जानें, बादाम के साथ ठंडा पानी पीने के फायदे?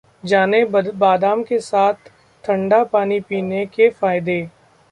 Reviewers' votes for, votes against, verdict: 0, 2, rejected